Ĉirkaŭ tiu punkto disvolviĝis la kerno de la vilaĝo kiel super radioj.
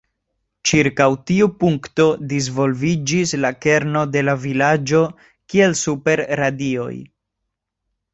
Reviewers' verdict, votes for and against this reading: accepted, 2, 0